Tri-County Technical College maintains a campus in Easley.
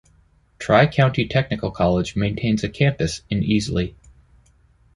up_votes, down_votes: 2, 0